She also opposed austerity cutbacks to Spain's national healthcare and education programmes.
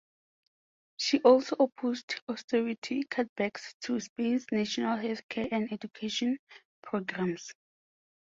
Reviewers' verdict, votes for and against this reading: accepted, 4, 0